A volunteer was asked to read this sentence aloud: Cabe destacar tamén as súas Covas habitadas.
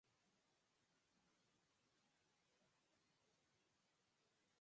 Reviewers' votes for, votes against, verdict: 0, 4, rejected